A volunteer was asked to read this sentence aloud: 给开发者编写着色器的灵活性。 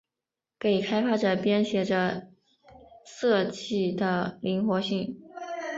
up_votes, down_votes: 2, 0